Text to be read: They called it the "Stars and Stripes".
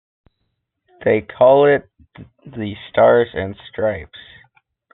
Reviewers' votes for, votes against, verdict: 1, 2, rejected